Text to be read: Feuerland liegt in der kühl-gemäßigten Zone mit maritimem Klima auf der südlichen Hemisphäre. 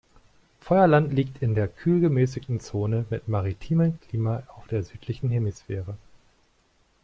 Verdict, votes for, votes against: accepted, 2, 0